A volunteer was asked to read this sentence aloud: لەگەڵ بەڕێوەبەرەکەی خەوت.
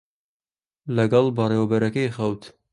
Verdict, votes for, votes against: accepted, 2, 0